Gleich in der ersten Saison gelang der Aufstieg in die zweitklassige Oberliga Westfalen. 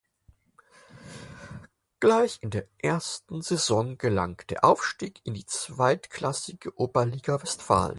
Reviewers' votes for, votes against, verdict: 4, 0, accepted